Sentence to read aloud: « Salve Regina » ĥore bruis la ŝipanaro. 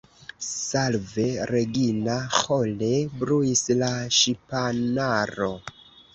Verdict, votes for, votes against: rejected, 0, 2